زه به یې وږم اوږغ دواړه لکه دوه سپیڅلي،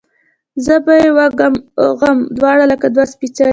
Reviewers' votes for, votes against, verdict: 2, 0, accepted